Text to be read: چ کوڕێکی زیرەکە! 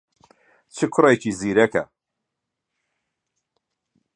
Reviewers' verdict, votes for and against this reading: accepted, 2, 0